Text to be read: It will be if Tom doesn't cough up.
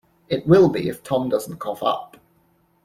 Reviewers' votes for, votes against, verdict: 2, 0, accepted